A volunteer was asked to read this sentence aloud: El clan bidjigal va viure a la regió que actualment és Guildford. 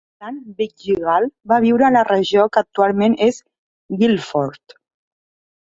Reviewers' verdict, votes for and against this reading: rejected, 1, 2